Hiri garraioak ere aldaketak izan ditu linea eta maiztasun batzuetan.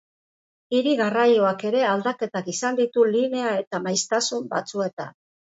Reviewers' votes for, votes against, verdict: 2, 0, accepted